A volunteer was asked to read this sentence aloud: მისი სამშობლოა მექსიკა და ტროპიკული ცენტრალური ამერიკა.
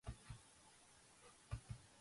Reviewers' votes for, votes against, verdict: 1, 2, rejected